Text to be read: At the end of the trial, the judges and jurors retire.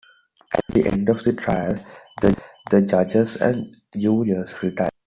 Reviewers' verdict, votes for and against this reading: rejected, 0, 2